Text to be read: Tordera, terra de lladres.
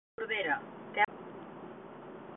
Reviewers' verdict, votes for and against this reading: rejected, 0, 2